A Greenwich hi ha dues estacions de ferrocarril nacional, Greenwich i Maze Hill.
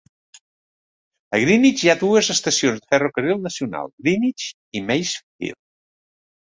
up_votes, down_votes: 0, 2